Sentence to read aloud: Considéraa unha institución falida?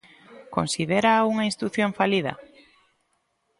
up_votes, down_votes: 1, 2